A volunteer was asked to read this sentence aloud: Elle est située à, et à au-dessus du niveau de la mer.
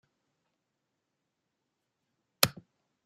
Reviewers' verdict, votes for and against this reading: rejected, 0, 2